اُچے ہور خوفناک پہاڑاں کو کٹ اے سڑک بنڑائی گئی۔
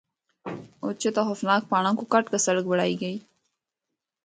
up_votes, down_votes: 0, 2